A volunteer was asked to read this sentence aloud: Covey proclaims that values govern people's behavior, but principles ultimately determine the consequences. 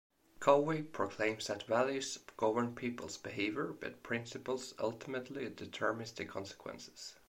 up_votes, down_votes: 1, 2